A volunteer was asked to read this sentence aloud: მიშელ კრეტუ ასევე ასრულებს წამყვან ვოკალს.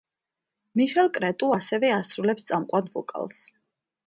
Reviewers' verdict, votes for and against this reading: accepted, 2, 0